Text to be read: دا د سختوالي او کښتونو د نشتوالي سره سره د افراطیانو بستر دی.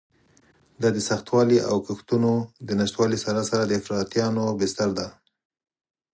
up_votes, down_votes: 4, 0